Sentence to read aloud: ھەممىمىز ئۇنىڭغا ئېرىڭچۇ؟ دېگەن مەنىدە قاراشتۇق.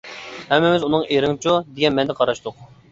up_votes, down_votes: 2, 1